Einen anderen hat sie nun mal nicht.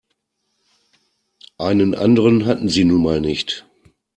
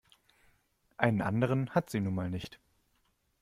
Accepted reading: second